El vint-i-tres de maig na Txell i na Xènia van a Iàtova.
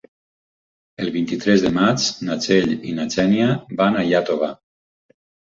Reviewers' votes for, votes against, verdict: 4, 0, accepted